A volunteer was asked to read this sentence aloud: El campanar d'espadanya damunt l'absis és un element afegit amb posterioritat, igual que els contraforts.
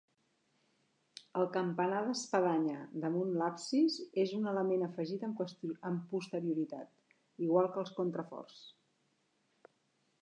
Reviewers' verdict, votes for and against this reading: rejected, 1, 2